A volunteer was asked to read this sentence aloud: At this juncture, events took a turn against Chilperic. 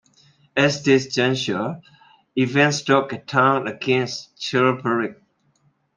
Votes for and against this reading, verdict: 2, 0, accepted